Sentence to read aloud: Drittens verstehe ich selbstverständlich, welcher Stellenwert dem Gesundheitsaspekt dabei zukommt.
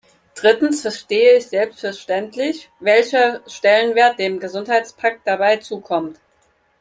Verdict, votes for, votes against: rejected, 0, 4